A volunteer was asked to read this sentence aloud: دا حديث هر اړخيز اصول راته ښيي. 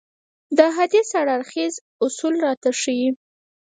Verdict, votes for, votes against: rejected, 2, 4